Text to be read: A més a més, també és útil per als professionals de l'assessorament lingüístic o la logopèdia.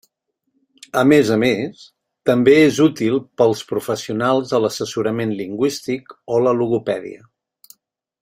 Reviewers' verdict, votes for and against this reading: rejected, 1, 2